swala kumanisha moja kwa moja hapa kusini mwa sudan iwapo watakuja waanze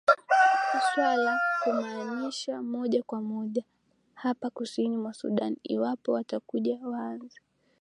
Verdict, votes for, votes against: accepted, 2, 0